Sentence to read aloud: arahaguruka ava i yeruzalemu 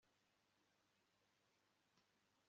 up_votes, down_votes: 1, 2